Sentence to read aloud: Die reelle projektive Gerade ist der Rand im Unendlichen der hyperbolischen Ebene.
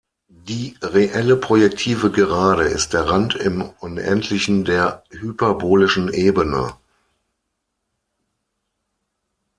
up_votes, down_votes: 6, 0